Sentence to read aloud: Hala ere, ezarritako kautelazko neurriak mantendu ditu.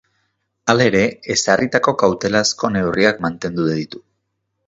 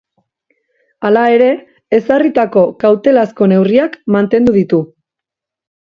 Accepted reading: second